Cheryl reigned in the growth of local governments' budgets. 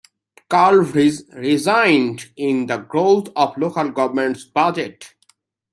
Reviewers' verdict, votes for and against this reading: rejected, 1, 2